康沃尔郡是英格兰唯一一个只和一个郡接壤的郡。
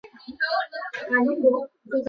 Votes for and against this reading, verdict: 0, 3, rejected